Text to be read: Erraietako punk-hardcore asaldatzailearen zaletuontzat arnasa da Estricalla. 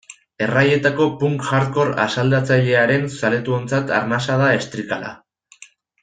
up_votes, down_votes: 2, 0